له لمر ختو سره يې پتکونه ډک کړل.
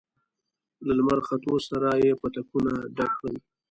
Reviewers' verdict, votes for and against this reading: accepted, 2, 0